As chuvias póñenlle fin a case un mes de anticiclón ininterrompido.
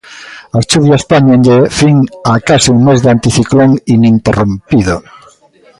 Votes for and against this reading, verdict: 0, 2, rejected